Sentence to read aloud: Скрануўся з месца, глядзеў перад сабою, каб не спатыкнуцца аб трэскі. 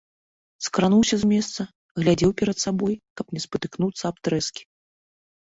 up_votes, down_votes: 2, 0